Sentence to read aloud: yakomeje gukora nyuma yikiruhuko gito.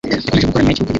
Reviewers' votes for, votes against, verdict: 1, 2, rejected